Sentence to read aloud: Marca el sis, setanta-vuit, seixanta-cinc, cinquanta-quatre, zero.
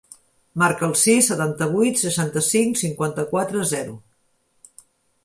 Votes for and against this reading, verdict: 3, 0, accepted